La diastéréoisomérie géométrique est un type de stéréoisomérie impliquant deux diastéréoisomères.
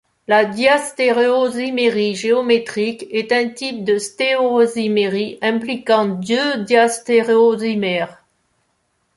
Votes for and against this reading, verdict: 0, 2, rejected